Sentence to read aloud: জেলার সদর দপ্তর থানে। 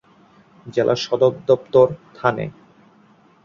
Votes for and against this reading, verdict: 18, 6, accepted